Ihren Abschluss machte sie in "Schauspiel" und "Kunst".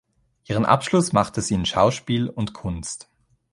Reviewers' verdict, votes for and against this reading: accepted, 3, 0